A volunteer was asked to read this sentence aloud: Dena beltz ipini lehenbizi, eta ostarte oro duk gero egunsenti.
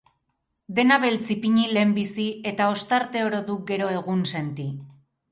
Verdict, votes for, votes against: accepted, 4, 0